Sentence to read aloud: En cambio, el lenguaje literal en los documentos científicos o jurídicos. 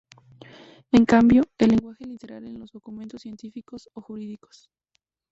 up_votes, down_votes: 0, 2